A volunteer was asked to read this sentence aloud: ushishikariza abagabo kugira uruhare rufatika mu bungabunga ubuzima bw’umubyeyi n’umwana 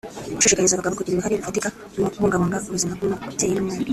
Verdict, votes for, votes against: rejected, 0, 2